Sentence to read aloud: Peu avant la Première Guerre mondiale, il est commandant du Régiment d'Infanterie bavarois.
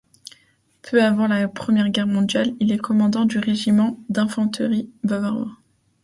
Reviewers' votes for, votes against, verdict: 2, 0, accepted